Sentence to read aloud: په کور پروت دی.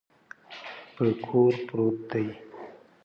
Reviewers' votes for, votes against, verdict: 3, 0, accepted